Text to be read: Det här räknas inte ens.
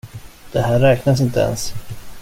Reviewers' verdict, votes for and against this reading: accepted, 2, 0